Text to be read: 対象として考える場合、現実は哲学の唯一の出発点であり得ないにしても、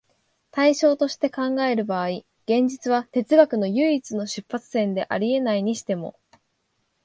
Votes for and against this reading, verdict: 3, 0, accepted